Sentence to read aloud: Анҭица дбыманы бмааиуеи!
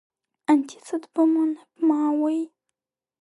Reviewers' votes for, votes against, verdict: 1, 2, rejected